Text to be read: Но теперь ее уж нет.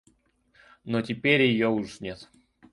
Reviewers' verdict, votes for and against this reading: accepted, 2, 1